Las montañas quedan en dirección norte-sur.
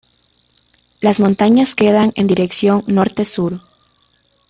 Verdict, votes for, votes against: accepted, 2, 0